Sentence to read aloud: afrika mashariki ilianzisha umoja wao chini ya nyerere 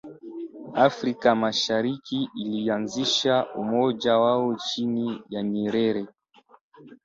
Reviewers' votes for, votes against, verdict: 0, 2, rejected